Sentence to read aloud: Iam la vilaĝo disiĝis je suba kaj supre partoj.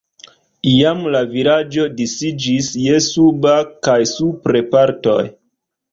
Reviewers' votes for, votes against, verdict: 0, 2, rejected